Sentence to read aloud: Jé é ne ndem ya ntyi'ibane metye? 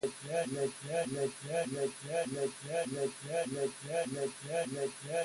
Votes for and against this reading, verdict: 0, 2, rejected